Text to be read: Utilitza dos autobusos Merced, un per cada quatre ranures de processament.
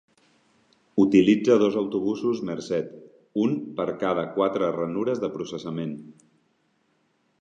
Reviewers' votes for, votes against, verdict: 3, 0, accepted